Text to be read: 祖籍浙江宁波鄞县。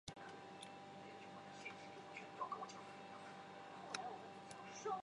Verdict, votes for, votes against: rejected, 1, 3